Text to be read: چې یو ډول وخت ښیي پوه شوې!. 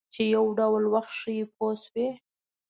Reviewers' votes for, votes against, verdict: 2, 0, accepted